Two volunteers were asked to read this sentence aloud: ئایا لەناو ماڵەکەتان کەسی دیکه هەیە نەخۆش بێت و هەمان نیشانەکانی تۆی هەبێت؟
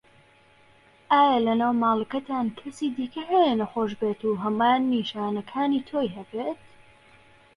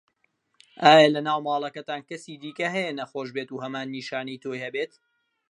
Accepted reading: first